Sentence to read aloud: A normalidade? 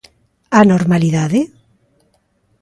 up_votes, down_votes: 2, 0